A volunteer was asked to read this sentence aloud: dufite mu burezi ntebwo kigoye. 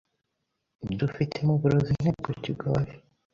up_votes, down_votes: 0, 2